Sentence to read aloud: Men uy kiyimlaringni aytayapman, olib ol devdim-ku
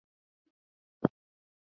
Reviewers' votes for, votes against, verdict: 1, 2, rejected